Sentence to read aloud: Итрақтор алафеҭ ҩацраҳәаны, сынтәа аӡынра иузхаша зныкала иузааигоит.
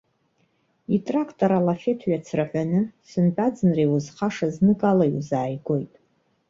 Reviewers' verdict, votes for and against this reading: accepted, 2, 1